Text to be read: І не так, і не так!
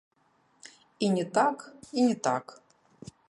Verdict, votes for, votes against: rejected, 0, 2